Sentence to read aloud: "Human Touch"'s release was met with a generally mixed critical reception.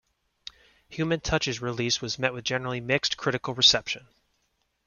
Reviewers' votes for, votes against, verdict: 3, 0, accepted